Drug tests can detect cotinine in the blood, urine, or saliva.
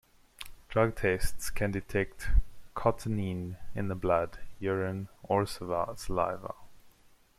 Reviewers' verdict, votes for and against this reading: rejected, 0, 2